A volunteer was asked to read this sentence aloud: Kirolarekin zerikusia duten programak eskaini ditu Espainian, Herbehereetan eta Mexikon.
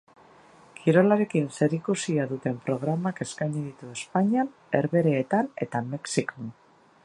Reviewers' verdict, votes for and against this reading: accepted, 2, 0